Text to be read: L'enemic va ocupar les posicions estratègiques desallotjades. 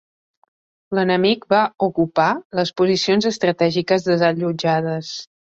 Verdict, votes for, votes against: accepted, 2, 0